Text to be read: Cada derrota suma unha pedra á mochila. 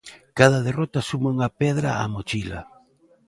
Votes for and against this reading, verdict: 2, 0, accepted